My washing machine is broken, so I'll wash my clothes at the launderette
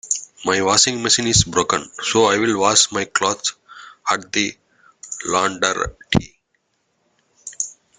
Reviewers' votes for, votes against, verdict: 0, 2, rejected